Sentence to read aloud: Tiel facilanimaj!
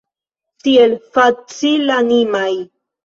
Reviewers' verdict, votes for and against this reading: accepted, 2, 1